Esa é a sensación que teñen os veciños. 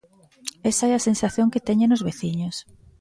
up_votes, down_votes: 2, 0